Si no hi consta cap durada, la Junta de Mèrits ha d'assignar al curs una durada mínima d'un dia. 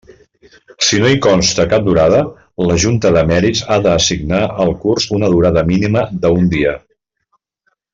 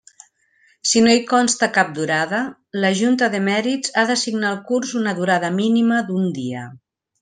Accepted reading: second